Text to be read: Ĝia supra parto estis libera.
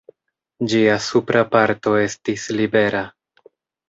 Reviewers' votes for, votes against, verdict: 2, 0, accepted